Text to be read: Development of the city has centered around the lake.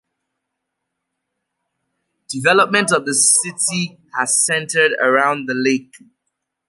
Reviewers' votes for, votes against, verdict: 2, 0, accepted